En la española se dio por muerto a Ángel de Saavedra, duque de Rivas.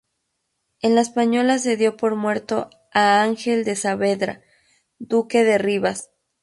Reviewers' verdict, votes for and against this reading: rejected, 2, 2